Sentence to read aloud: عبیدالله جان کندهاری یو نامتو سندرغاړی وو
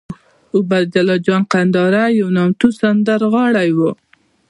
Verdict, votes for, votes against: accepted, 2, 1